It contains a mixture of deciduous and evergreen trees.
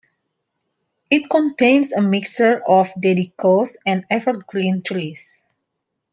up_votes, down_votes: 1, 2